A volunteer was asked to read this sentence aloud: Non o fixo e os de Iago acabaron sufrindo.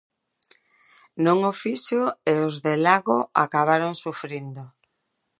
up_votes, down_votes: 0, 2